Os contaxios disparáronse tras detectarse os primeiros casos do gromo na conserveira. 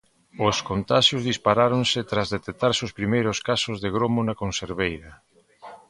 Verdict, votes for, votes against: rejected, 1, 2